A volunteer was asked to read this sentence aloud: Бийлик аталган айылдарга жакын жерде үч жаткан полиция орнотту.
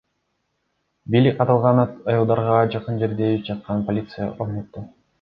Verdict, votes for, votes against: accepted, 2, 0